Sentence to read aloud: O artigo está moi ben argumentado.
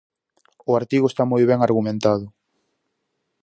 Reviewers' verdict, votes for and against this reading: accepted, 4, 0